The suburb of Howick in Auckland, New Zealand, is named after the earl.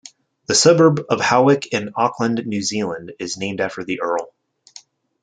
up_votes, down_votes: 2, 0